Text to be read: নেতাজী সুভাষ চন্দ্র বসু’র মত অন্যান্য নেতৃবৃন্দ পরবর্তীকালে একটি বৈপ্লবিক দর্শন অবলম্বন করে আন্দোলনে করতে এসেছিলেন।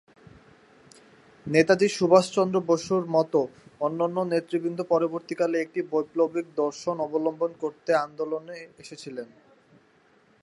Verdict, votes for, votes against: rejected, 0, 3